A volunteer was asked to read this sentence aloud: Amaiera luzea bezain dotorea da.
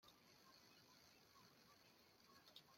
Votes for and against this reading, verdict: 0, 2, rejected